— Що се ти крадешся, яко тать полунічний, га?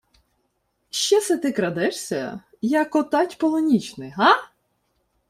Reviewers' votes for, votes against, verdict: 2, 0, accepted